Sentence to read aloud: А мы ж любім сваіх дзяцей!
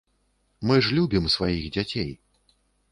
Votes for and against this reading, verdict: 1, 2, rejected